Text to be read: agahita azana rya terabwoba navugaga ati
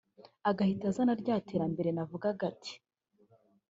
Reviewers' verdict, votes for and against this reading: rejected, 0, 2